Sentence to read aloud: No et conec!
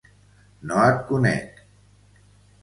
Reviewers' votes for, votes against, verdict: 2, 0, accepted